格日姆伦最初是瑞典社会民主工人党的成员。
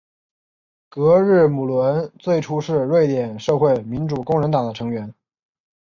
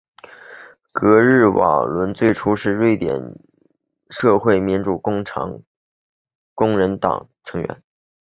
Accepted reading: first